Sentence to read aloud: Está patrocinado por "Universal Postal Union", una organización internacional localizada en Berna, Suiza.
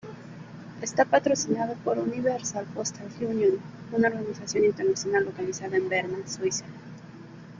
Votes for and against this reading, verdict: 2, 1, accepted